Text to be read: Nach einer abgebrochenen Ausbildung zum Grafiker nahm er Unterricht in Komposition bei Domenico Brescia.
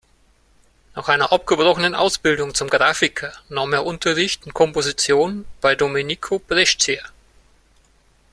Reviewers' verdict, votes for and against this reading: accepted, 2, 0